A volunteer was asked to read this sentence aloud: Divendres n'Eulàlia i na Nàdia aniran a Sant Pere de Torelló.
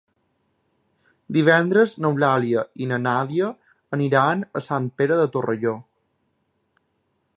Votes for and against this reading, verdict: 1, 2, rejected